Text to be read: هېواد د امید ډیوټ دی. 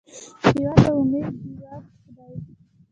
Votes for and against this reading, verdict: 1, 2, rejected